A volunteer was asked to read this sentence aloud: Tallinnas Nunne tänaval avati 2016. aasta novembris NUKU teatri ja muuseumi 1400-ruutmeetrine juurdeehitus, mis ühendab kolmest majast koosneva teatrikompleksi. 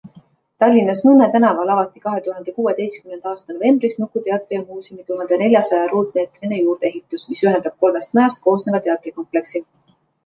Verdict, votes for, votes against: rejected, 0, 2